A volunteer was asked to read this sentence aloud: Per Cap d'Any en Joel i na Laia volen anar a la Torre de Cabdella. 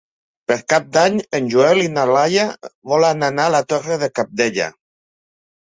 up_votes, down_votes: 3, 0